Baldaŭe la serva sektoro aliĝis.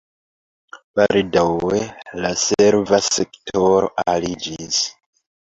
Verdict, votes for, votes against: accepted, 2, 1